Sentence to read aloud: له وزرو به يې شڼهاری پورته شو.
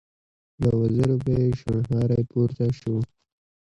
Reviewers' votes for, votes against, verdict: 2, 1, accepted